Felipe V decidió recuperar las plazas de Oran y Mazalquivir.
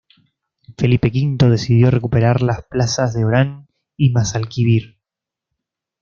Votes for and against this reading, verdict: 2, 0, accepted